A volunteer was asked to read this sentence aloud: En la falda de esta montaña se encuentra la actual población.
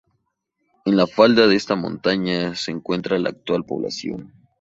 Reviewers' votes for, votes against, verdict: 2, 0, accepted